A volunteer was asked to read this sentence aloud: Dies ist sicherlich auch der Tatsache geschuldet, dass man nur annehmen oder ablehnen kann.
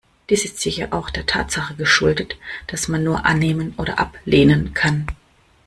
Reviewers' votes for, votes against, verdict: 2, 1, accepted